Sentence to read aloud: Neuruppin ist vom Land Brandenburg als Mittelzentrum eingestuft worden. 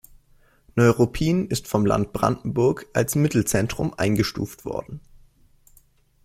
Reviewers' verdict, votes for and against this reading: accepted, 2, 0